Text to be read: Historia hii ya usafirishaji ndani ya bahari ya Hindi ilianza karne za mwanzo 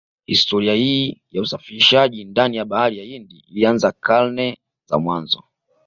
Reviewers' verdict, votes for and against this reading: accepted, 2, 0